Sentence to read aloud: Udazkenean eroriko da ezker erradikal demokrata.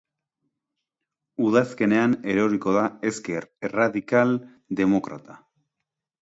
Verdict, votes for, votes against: accepted, 3, 1